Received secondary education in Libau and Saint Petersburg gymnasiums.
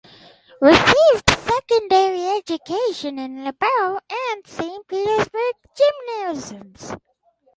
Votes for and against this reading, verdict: 2, 2, rejected